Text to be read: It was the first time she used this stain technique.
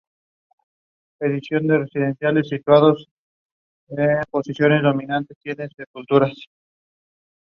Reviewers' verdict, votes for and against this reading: rejected, 0, 2